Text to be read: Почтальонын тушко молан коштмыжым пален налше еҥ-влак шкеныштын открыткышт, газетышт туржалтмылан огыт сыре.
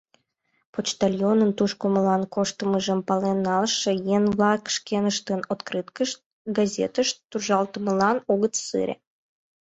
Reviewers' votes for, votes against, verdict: 0, 2, rejected